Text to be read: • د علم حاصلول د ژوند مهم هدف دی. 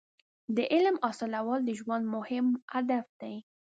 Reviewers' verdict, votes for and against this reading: accepted, 2, 0